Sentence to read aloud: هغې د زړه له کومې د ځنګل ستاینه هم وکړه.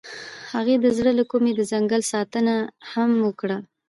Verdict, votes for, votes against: accepted, 2, 0